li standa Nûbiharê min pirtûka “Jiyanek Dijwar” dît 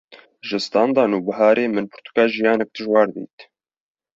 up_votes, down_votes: 1, 2